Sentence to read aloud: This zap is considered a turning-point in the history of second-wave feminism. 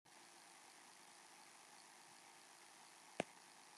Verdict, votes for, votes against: rejected, 0, 2